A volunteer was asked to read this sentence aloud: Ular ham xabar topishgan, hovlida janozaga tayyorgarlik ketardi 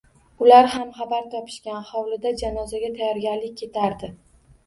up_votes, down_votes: 2, 1